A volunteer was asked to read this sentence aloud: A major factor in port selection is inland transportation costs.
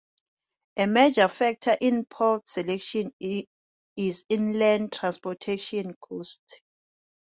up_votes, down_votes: 0, 2